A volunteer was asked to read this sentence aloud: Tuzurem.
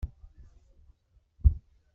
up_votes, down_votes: 1, 2